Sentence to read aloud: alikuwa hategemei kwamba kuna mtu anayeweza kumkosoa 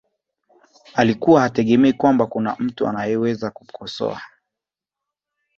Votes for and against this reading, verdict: 3, 0, accepted